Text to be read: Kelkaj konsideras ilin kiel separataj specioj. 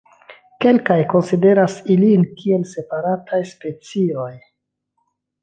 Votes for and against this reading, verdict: 2, 0, accepted